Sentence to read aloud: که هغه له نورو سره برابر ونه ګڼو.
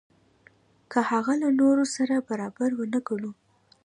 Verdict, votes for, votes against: accepted, 2, 0